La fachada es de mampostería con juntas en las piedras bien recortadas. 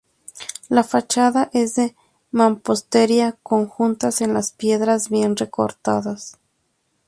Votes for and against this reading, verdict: 2, 0, accepted